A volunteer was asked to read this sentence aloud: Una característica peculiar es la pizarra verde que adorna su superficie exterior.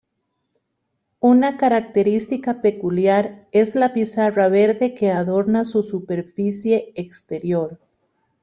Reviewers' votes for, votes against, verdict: 2, 0, accepted